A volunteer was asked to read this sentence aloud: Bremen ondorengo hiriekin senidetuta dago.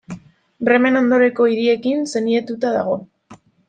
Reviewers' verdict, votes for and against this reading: rejected, 1, 2